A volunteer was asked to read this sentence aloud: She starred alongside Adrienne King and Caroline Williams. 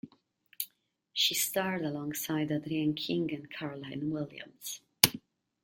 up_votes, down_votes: 2, 0